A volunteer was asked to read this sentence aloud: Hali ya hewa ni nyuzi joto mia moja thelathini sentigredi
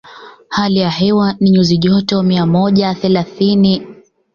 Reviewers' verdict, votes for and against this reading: rejected, 0, 2